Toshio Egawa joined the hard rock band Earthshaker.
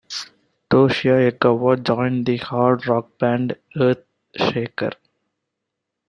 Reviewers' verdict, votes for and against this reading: accepted, 2, 0